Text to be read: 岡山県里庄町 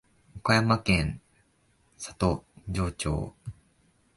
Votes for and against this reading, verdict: 1, 2, rejected